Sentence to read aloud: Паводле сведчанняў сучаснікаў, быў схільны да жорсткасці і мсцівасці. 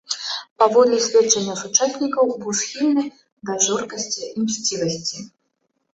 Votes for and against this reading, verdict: 1, 2, rejected